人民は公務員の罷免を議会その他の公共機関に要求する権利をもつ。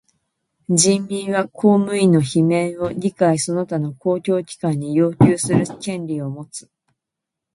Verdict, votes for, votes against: rejected, 0, 2